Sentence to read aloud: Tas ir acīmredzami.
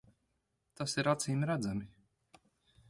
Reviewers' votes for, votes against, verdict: 2, 0, accepted